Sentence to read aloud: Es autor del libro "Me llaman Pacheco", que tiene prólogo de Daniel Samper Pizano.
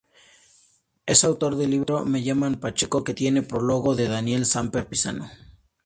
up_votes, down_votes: 4, 0